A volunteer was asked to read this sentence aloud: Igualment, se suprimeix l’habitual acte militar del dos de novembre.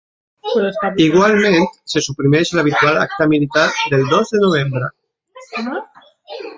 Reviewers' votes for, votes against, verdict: 1, 2, rejected